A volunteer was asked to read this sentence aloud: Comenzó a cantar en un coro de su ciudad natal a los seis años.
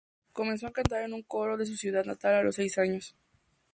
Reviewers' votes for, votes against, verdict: 2, 0, accepted